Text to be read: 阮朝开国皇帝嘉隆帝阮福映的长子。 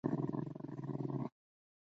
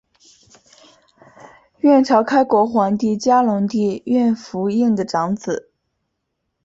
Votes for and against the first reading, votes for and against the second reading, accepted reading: 0, 2, 2, 0, second